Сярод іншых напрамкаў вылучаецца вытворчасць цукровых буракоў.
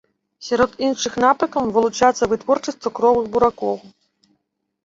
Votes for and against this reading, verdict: 0, 2, rejected